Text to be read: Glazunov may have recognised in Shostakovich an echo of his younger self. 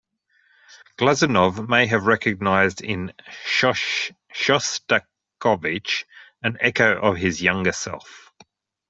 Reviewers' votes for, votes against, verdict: 1, 2, rejected